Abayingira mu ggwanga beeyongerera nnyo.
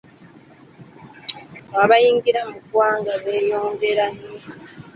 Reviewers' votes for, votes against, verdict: 2, 1, accepted